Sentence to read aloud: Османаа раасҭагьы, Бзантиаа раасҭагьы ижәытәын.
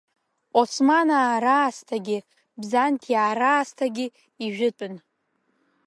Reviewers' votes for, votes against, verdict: 0, 2, rejected